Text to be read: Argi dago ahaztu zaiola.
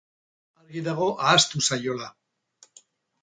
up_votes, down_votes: 0, 2